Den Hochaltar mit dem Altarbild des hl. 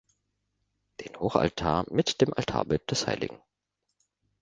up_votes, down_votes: 2, 0